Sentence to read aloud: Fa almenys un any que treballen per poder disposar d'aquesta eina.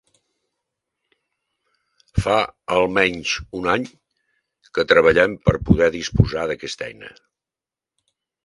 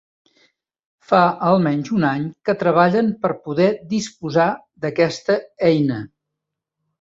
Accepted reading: second